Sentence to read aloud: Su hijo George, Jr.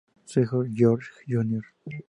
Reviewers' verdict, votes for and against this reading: accepted, 2, 0